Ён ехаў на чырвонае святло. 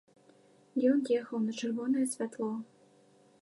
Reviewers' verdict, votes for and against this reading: accepted, 2, 0